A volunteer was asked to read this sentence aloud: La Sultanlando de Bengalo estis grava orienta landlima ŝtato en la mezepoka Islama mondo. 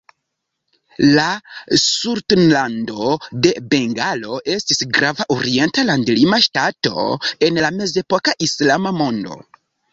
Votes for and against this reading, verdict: 1, 2, rejected